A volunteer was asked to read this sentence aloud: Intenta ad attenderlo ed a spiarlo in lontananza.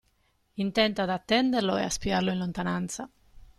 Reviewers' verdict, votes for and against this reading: accepted, 2, 1